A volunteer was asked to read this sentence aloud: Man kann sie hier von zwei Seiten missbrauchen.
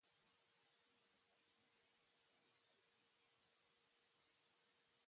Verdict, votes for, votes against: rejected, 0, 2